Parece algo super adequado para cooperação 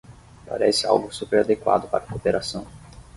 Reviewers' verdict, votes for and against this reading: accepted, 6, 0